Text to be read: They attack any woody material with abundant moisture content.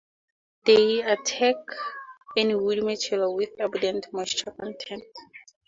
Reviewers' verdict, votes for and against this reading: rejected, 0, 2